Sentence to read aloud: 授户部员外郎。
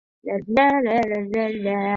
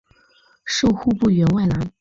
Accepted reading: second